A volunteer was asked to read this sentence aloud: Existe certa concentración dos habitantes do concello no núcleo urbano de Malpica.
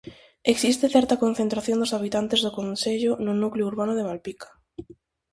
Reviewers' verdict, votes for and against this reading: accepted, 2, 0